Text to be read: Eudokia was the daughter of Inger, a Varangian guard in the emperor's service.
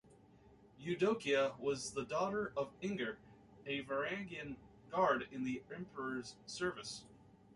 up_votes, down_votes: 1, 2